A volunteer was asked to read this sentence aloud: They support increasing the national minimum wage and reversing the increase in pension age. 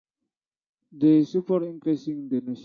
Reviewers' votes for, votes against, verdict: 0, 2, rejected